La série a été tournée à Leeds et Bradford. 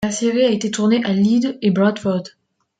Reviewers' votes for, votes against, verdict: 2, 0, accepted